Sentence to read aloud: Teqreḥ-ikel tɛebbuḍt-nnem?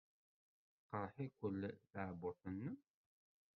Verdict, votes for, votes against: rejected, 1, 2